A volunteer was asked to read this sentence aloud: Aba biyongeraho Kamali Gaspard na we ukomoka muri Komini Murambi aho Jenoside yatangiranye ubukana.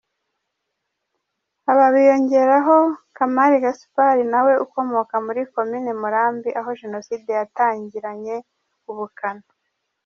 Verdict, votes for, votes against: rejected, 1, 2